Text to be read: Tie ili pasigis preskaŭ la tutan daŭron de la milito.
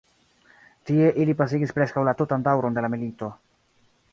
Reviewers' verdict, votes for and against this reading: rejected, 0, 2